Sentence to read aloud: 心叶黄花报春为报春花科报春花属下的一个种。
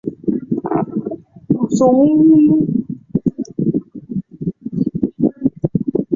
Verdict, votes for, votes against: rejected, 0, 3